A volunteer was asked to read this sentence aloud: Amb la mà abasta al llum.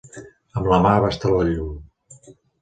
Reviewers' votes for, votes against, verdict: 1, 2, rejected